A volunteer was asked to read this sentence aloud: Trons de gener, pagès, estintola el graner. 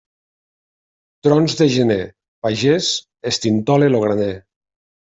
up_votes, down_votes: 1, 2